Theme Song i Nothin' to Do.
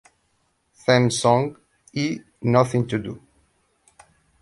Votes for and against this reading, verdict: 0, 2, rejected